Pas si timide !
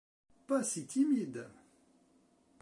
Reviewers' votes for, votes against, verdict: 2, 0, accepted